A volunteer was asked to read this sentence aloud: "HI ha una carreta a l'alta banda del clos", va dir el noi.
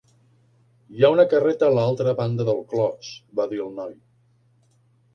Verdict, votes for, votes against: accepted, 2, 1